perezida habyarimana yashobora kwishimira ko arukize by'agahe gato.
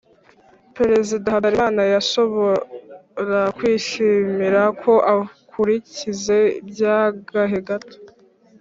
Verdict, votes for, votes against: rejected, 1, 2